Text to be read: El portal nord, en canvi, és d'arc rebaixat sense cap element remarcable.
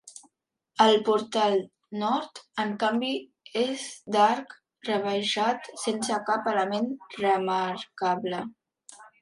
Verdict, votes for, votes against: accepted, 2, 1